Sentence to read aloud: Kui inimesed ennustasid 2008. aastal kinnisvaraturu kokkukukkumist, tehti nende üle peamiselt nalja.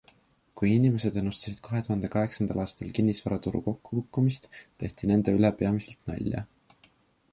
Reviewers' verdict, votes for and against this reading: rejected, 0, 2